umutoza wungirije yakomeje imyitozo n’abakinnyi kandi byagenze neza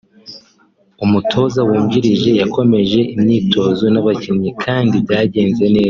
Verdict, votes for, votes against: accepted, 4, 2